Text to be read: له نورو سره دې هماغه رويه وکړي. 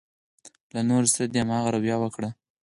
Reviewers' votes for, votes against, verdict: 4, 0, accepted